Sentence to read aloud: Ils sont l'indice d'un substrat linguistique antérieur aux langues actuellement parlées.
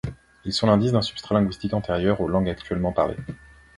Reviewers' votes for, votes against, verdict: 2, 0, accepted